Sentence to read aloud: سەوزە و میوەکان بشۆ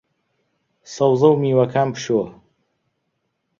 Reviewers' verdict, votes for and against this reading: accepted, 2, 0